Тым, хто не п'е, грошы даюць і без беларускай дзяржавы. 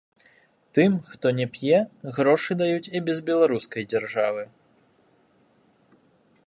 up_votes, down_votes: 0, 3